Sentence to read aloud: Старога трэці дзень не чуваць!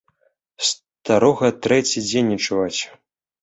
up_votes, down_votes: 2, 0